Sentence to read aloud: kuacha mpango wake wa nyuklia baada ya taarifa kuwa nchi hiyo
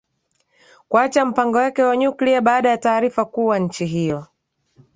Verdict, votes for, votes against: rejected, 0, 2